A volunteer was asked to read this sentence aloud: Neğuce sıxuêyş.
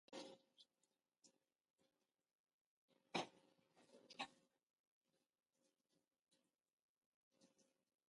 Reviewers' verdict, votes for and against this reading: rejected, 0, 3